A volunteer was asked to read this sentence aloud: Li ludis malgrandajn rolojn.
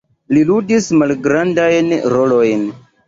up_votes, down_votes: 2, 0